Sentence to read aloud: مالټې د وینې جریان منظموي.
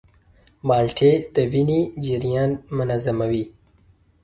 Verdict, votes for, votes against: accepted, 3, 0